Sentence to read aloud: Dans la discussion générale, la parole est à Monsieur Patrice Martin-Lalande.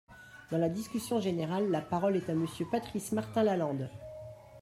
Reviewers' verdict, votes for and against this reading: accepted, 2, 1